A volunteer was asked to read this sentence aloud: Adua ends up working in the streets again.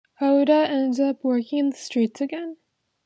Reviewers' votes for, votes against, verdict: 2, 0, accepted